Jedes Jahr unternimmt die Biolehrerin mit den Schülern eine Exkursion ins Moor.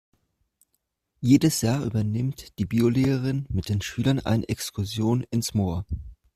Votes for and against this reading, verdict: 2, 3, rejected